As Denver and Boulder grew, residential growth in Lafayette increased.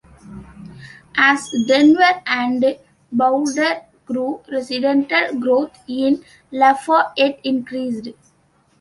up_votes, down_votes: 0, 2